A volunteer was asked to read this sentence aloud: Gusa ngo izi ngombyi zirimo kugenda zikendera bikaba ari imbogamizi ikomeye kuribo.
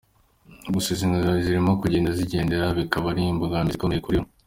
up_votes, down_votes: 2, 0